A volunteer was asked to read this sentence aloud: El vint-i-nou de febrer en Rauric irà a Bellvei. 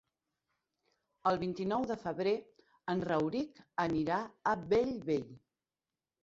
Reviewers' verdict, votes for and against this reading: rejected, 1, 2